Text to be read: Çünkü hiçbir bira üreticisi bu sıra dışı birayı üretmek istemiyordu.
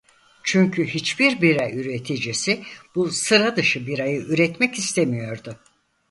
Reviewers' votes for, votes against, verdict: 4, 0, accepted